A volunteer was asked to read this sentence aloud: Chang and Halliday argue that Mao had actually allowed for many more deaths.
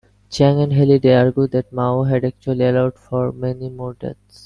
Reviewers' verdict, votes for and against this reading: accepted, 2, 0